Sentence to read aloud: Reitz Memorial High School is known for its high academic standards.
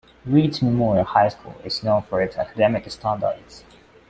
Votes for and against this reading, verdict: 0, 2, rejected